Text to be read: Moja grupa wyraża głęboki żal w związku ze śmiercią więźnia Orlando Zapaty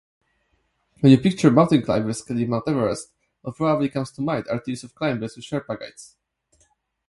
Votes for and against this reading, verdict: 0, 2, rejected